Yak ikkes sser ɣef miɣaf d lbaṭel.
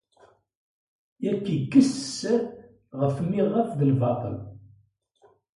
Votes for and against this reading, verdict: 1, 2, rejected